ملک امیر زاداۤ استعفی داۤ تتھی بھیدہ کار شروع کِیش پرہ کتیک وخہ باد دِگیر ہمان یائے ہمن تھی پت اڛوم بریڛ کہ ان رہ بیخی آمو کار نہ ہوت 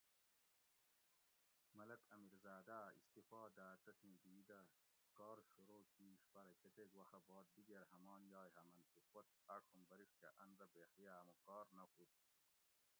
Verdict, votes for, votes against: rejected, 1, 2